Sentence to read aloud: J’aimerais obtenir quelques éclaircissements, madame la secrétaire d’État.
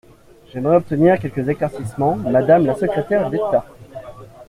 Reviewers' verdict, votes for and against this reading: accepted, 2, 0